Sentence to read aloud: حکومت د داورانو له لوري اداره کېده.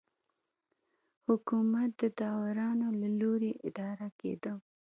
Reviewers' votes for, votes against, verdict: 2, 0, accepted